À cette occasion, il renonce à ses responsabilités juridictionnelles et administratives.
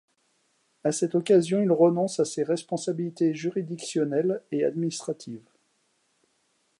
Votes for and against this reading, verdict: 2, 0, accepted